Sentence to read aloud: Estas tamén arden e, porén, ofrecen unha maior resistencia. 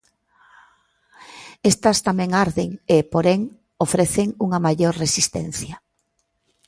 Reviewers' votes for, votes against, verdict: 2, 0, accepted